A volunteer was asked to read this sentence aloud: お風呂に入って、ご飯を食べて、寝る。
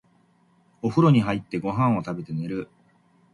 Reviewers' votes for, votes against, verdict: 5, 1, accepted